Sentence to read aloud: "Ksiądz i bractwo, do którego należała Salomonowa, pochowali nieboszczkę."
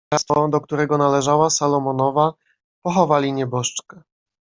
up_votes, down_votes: 0, 2